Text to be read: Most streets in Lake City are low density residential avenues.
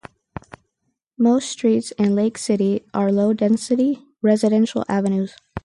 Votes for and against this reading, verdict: 4, 0, accepted